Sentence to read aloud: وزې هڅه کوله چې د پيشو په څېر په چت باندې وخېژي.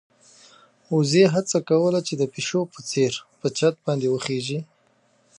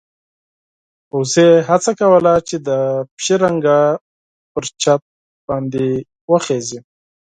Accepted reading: first